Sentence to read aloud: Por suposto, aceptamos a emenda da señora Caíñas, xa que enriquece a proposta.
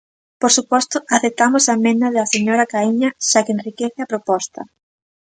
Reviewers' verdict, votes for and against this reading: rejected, 0, 2